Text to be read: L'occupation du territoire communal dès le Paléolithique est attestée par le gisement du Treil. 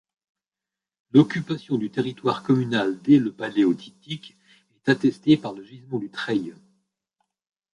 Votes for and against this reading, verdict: 1, 2, rejected